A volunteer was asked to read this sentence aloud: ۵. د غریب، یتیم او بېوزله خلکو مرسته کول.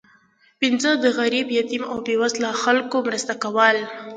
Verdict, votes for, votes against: rejected, 0, 2